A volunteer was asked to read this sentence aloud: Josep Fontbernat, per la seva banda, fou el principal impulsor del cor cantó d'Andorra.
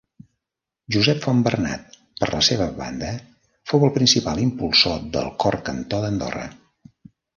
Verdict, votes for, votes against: rejected, 1, 2